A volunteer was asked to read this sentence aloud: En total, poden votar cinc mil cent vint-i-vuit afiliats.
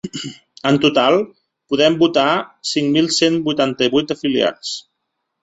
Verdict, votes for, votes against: rejected, 1, 2